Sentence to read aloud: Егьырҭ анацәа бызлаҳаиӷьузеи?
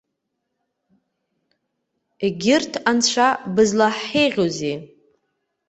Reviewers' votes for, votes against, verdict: 0, 2, rejected